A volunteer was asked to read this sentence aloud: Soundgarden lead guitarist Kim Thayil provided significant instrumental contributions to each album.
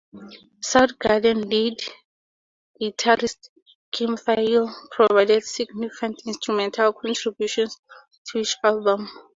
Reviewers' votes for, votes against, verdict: 4, 2, accepted